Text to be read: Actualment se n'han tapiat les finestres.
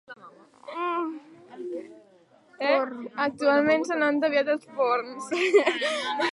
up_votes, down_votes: 1, 3